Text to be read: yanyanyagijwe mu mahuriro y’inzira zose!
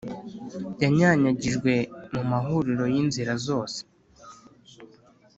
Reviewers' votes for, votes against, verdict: 2, 0, accepted